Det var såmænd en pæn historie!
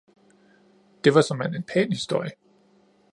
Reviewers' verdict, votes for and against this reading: accepted, 2, 0